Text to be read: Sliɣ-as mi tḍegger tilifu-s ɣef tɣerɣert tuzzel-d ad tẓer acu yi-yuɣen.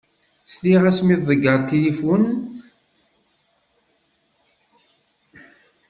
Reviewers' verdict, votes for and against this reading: rejected, 0, 2